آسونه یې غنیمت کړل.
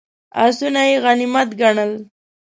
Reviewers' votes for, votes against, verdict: 0, 2, rejected